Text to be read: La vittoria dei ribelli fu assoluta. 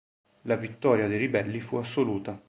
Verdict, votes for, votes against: accepted, 2, 0